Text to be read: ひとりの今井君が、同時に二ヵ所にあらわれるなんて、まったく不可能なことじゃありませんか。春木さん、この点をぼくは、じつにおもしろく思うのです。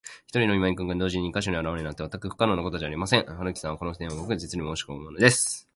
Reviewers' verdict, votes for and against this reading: rejected, 0, 3